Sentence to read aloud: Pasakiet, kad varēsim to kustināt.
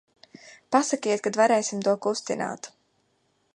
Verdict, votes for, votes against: accepted, 2, 0